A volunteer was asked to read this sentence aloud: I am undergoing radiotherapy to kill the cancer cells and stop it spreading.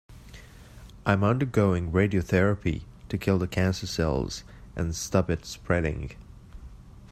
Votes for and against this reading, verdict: 0, 2, rejected